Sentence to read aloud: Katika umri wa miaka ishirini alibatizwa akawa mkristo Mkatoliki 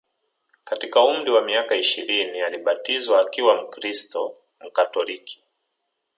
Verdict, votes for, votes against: rejected, 1, 2